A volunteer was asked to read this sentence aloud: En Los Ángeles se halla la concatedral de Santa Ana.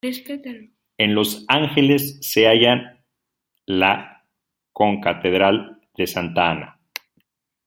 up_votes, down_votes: 1, 2